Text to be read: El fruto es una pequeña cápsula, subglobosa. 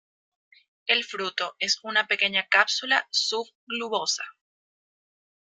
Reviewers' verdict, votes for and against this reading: rejected, 0, 2